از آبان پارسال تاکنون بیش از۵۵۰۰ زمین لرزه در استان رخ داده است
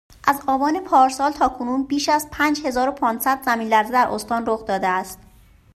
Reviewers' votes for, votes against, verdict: 0, 2, rejected